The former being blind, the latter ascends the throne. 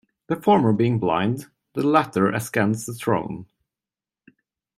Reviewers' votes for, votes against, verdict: 1, 2, rejected